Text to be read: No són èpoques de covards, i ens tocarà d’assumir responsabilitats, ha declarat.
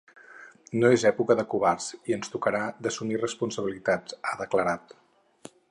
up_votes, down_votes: 2, 4